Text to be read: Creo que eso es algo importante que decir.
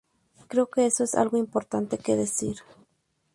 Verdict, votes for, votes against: accepted, 2, 0